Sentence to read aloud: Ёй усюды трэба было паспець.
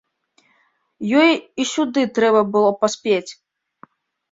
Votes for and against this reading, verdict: 1, 2, rejected